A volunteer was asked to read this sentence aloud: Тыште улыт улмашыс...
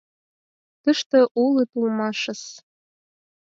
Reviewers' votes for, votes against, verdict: 6, 2, accepted